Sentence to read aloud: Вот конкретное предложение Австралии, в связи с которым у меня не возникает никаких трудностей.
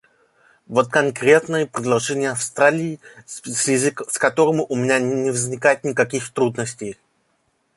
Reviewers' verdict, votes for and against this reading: rejected, 1, 2